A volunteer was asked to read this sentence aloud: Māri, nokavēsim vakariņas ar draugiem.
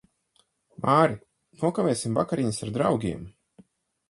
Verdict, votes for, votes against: accepted, 4, 0